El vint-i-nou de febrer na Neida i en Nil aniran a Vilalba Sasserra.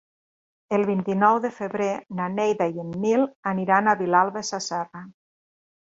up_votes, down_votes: 3, 0